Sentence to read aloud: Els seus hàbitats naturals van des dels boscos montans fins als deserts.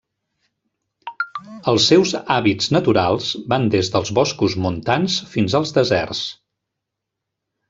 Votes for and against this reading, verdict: 0, 2, rejected